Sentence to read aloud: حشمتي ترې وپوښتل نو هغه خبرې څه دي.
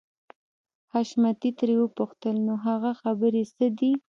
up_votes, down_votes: 2, 0